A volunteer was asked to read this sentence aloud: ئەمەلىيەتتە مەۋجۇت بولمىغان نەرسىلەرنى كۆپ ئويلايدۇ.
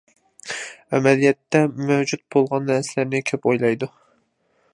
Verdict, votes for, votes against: rejected, 0, 2